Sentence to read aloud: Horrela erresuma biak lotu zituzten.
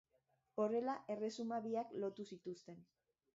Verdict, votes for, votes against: accepted, 2, 1